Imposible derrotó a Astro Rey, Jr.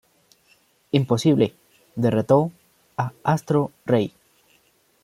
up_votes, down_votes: 0, 2